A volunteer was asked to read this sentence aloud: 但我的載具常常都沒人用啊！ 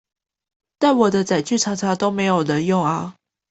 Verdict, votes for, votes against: accepted, 2, 0